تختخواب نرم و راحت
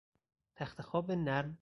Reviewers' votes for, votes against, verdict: 0, 4, rejected